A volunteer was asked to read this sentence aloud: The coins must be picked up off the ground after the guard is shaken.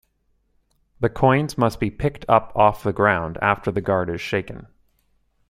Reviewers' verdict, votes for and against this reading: accepted, 2, 0